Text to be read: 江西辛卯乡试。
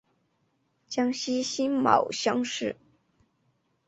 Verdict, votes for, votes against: accepted, 3, 0